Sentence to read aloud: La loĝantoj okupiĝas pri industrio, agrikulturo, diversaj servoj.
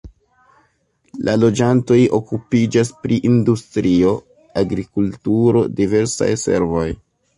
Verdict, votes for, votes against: accepted, 2, 0